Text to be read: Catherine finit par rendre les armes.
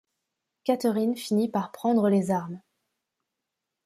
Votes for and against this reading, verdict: 0, 2, rejected